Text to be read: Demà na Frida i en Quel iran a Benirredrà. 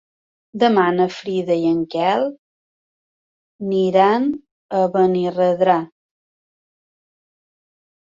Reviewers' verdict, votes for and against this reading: rejected, 1, 2